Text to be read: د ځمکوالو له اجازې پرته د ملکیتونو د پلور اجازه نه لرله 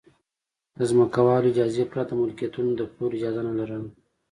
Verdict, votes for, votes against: accepted, 2, 0